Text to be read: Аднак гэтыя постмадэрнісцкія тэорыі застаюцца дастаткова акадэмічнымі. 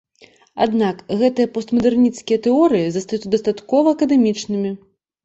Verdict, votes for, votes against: rejected, 1, 2